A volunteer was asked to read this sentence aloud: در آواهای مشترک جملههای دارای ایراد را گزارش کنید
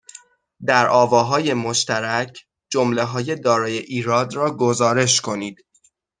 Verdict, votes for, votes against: accepted, 2, 0